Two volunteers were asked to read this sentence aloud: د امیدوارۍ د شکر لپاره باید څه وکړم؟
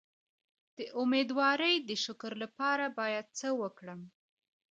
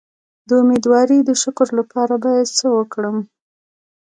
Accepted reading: second